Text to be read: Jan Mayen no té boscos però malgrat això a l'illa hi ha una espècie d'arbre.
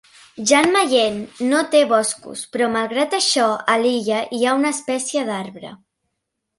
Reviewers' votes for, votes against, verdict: 2, 0, accepted